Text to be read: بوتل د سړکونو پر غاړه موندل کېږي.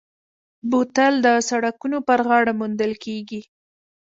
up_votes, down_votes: 3, 0